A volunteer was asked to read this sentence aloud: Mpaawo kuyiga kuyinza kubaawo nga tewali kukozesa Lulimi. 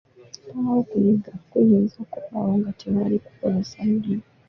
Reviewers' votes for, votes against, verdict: 0, 2, rejected